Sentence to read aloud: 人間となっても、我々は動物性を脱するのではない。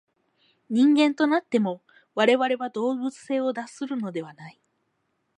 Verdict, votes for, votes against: accepted, 4, 0